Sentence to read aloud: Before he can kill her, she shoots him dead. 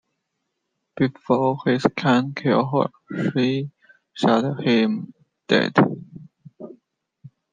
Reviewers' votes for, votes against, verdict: 0, 2, rejected